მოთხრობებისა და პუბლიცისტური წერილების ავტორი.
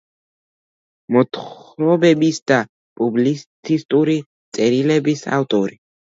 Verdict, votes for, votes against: accepted, 2, 1